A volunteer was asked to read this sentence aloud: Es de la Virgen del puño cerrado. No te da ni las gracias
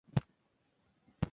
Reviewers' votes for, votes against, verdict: 0, 2, rejected